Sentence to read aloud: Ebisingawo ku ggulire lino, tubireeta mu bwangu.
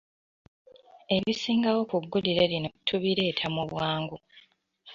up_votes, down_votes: 1, 2